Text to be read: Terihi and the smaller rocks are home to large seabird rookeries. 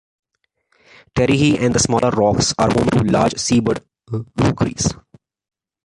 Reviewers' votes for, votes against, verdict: 2, 1, accepted